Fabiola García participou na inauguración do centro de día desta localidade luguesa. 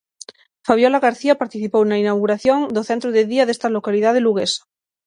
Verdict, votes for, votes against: accepted, 6, 0